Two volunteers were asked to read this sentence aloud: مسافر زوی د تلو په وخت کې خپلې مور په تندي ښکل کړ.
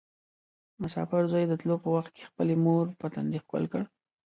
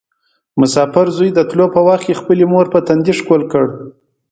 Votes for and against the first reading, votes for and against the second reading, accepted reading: 1, 2, 2, 0, second